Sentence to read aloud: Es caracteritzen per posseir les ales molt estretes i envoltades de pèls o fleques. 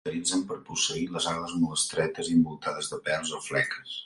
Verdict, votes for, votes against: rejected, 1, 2